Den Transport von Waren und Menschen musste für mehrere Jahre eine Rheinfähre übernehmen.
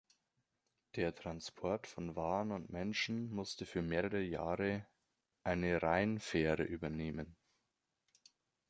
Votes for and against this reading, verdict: 1, 2, rejected